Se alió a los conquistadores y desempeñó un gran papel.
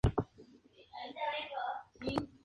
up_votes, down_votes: 0, 2